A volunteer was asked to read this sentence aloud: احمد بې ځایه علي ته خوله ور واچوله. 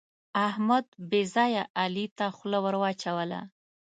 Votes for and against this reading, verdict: 2, 0, accepted